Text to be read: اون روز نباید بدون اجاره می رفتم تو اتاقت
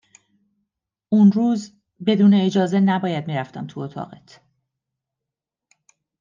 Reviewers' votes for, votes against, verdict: 0, 2, rejected